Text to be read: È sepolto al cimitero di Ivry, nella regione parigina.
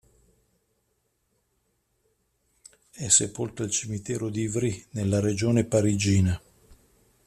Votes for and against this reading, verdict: 2, 0, accepted